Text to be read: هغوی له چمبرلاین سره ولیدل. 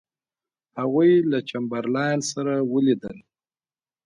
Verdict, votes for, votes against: rejected, 1, 2